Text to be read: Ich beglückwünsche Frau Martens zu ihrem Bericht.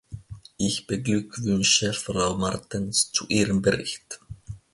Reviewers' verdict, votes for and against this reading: accepted, 2, 0